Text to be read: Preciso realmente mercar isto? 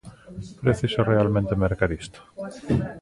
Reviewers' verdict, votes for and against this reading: rejected, 1, 2